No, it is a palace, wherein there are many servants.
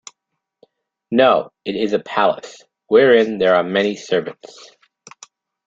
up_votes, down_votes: 2, 0